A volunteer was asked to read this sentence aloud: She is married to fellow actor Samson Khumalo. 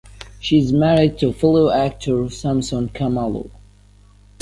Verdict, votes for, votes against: accepted, 2, 0